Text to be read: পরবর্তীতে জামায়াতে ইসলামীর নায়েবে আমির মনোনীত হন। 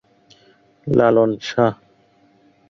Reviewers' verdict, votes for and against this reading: rejected, 0, 2